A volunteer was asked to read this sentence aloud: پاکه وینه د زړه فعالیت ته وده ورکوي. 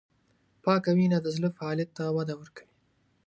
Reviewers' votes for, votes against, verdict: 4, 0, accepted